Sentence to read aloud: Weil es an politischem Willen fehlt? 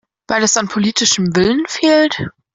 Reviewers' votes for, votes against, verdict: 2, 0, accepted